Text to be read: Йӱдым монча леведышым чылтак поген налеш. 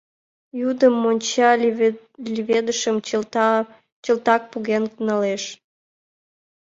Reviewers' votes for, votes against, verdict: 0, 2, rejected